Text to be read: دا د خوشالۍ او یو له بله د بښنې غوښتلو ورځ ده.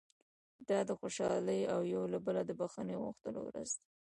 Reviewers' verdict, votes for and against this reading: accepted, 2, 1